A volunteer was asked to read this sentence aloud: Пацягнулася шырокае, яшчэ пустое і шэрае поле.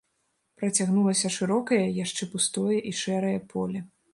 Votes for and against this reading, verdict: 1, 2, rejected